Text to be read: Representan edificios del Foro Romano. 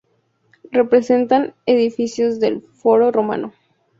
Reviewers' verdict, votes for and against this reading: accepted, 2, 0